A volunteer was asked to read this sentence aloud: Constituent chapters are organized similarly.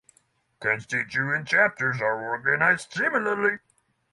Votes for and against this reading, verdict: 6, 0, accepted